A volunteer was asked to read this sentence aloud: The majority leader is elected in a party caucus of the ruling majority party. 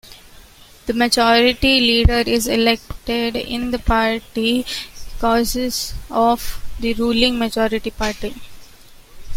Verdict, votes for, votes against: rejected, 1, 2